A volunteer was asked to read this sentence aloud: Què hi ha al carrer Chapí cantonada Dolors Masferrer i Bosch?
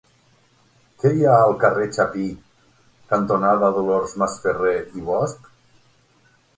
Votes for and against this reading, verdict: 6, 0, accepted